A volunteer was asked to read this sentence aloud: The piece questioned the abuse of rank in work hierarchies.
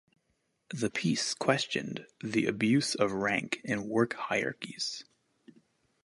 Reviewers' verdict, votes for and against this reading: accepted, 2, 0